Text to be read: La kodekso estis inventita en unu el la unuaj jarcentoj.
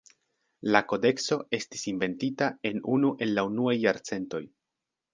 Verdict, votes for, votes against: accepted, 2, 0